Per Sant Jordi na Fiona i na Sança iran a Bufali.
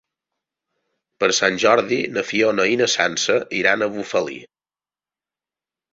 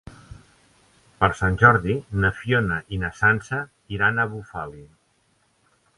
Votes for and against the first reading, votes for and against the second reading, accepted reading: 0, 2, 3, 0, second